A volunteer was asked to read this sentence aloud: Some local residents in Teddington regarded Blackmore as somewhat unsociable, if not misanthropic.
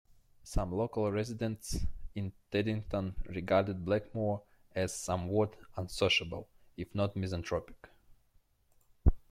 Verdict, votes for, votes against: accepted, 2, 1